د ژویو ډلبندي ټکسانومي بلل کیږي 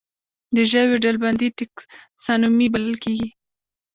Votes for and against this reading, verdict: 1, 2, rejected